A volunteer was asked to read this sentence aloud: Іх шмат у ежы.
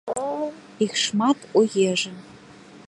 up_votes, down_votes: 2, 0